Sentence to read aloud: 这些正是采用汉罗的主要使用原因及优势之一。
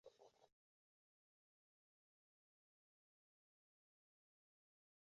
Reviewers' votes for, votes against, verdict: 0, 7, rejected